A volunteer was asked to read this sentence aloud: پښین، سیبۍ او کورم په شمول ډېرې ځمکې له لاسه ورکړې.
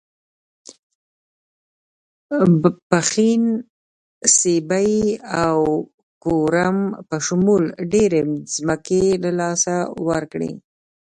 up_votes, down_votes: 0, 2